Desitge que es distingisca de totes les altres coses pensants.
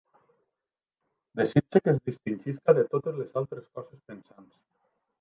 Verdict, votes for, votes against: accepted, 2, 1